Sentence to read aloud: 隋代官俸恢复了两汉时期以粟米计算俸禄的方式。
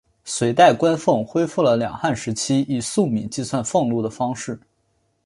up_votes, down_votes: 3, 0